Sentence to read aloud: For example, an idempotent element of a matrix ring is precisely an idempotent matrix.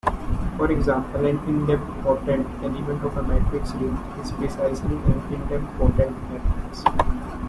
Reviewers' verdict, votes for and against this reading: rejected, 0, 2